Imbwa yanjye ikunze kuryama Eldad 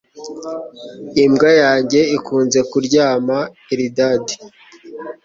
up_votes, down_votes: 3, 1